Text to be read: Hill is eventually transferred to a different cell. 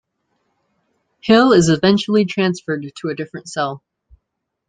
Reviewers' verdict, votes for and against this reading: accepted, 2, 0